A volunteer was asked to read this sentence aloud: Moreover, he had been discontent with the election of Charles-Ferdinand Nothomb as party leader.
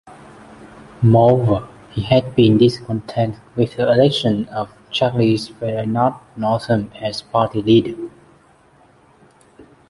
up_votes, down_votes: 0, 2